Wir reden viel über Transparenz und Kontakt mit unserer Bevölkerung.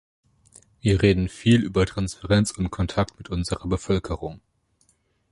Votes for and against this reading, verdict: 2, 0, accepted